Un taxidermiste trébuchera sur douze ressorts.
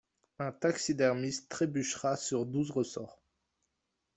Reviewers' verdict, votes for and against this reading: accepted, 2, 0